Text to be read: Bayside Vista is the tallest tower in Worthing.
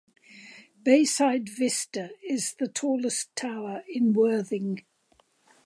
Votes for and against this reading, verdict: 2, 0, accepted